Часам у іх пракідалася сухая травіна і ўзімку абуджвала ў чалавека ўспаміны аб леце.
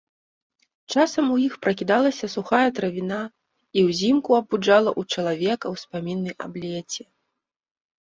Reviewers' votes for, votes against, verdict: 0, 2, rejected